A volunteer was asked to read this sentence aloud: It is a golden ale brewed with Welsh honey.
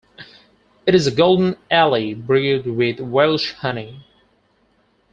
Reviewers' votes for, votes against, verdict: 2, 4, rejected